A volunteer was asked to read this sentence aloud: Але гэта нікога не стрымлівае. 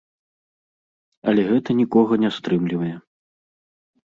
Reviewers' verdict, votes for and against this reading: accepted, 2, 0